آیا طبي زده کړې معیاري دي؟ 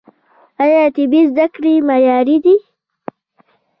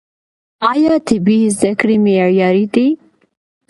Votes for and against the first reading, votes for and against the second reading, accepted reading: 1, 2, 2, 0, second